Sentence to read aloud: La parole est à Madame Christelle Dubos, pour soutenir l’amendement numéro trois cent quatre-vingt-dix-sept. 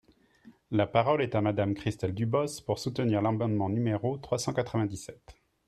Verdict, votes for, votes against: accepted, 3, 2